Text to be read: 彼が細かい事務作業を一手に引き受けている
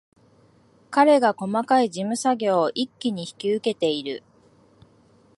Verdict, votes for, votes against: rejected, 1, 2